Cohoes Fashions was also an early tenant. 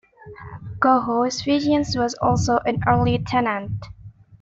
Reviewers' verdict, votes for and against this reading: accepted, 2, 1